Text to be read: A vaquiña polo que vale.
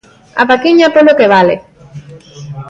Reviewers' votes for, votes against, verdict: 1, 2, rejected